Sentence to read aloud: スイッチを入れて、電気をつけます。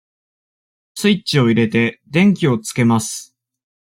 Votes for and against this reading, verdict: 2, 0, accepted